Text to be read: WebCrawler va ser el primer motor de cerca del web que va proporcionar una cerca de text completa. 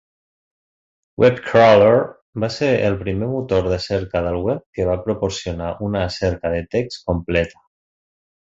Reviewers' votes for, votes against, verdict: 1, 2, rejected